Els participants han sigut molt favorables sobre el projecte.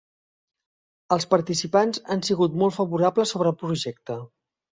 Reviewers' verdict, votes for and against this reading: accepted, 2, 0